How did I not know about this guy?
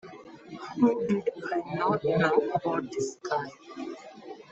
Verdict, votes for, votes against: rejected, 1, 2